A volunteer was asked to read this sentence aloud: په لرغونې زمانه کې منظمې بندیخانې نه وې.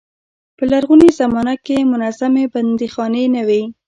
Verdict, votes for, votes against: rejected, 0, 2